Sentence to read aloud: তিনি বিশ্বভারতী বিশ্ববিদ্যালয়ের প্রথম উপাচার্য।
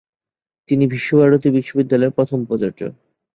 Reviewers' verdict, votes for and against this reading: accepted, 3, 1